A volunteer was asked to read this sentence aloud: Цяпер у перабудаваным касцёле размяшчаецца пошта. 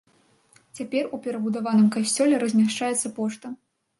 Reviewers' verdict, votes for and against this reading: accepted, 2, 0